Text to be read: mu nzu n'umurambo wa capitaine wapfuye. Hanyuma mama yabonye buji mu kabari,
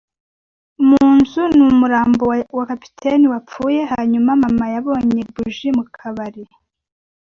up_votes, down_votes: 1, 2